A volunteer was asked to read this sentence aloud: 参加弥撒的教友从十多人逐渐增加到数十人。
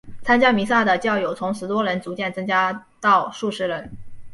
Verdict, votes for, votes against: accepted, 2, 1